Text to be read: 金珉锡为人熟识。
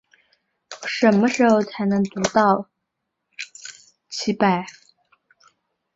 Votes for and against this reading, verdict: 0, 5, rejected